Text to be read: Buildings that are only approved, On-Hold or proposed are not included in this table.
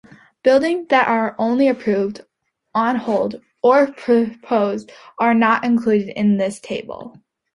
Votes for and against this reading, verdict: 0, 2, rejected